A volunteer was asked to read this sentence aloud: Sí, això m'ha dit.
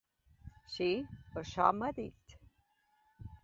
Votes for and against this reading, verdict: 3, 0, accepted